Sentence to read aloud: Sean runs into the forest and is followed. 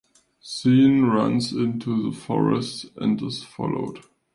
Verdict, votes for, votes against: rejected, 0, 2